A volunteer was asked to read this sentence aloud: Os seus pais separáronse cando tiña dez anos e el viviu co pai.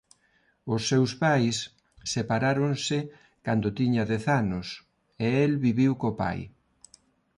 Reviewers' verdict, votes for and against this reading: accepted, 2, 0